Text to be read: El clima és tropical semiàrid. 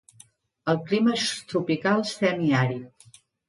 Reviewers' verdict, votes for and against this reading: accepted, 2, 0